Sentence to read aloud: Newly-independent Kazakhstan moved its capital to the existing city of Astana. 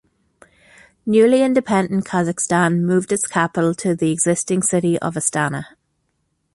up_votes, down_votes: 2, 0